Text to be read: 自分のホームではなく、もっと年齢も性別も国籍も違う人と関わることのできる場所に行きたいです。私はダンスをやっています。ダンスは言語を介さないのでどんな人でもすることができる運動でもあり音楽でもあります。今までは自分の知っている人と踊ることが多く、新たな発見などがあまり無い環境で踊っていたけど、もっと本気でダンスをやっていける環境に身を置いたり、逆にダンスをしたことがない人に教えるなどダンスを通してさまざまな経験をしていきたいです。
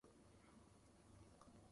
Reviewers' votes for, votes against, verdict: 0, 2, rejected